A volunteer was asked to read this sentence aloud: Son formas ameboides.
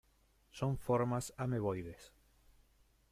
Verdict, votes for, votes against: rejected, 0, 2